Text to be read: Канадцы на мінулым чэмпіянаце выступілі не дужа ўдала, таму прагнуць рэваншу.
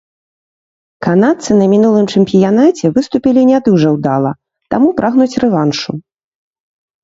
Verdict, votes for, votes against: rejected, 1, 2